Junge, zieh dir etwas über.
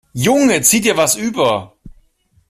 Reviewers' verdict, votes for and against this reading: accepted, 2, 1